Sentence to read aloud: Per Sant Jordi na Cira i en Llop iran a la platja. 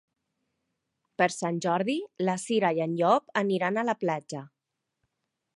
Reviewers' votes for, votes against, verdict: 0, 5, rejected